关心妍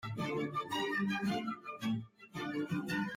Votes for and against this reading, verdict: 0, 2, rejected